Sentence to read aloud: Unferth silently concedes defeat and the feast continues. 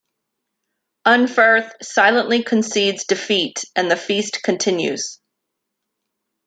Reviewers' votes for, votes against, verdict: 2, 0, accepted